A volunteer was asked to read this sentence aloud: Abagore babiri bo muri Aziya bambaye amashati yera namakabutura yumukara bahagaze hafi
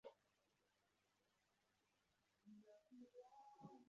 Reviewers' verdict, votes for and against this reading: rejected, 0, 2